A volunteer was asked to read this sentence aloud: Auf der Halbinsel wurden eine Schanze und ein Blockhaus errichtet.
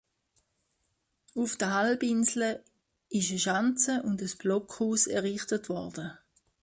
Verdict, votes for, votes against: rejected, 0, 2